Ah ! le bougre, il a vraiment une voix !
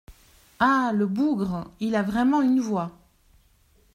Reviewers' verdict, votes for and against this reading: accepted, 2, 0